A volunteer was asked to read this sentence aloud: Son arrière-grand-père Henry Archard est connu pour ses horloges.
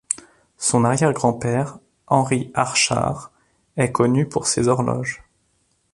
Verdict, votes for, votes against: accepted, 2, 0